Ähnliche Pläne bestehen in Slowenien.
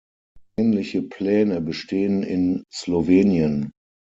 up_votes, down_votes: 6, 0